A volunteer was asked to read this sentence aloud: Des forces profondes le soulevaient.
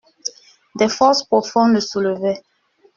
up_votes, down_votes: 2, 0